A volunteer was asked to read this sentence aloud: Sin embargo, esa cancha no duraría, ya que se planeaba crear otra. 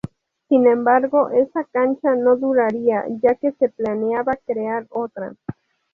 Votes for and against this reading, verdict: 0, 2, rejected